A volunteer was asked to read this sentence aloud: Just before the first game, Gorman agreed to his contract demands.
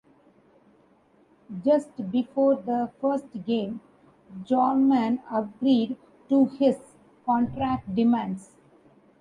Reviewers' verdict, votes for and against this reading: rejected, 1, 2